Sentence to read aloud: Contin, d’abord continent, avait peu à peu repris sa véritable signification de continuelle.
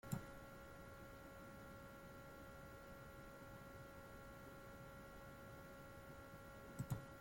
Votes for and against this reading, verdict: 0, 2, rejected